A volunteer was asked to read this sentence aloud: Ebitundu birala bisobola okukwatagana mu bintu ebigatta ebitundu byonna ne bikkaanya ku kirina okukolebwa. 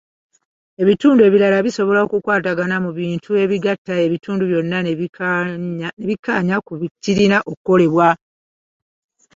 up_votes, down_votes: 1, 2